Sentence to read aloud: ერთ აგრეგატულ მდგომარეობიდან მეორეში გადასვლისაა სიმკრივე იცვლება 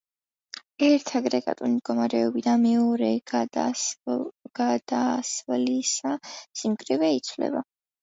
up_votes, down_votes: 0, 3